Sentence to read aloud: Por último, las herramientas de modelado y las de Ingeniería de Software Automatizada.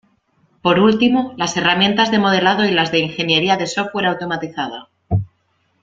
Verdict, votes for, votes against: accepted, 2, 0